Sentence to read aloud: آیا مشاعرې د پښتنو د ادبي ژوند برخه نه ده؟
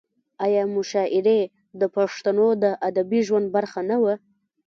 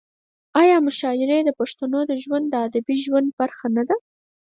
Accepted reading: second